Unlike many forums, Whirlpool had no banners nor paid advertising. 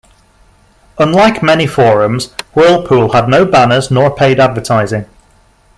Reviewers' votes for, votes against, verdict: 2, 0, accepted